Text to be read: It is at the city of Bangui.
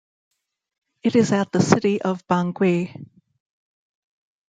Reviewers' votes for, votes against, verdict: 2, 0, accepted